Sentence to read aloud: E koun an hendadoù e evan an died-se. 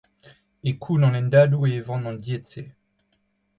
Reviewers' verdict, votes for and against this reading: accepted, 2, 0